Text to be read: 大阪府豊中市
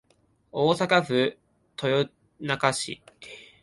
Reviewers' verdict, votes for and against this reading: accepted, 11, 0